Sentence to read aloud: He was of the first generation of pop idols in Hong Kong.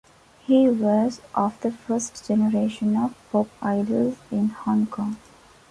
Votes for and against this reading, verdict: 2, 0, accepted